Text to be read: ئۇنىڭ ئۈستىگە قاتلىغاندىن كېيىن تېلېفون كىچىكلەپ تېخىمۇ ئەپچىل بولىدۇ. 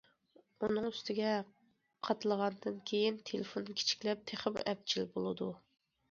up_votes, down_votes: 2, 0